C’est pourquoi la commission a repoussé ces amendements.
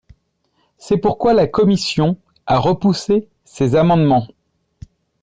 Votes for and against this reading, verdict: 2, 0, accepted